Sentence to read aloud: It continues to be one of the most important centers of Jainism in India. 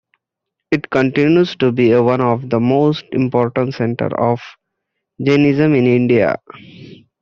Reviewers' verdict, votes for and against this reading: accepted, 2, 0